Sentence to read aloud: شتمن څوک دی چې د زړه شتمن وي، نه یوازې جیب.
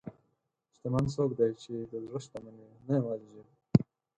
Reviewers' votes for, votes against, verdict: 0, 4, rejected